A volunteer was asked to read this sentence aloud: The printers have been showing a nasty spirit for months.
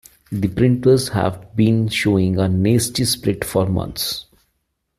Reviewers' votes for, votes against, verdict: 1, 2, rejected